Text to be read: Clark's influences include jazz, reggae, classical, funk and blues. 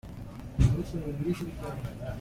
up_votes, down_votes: 0, 2